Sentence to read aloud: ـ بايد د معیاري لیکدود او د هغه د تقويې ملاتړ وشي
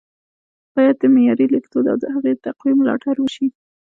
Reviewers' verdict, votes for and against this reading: accepted, 2, 0